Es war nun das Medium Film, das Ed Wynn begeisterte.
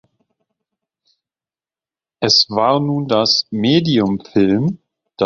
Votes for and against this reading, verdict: 0, 2, rejected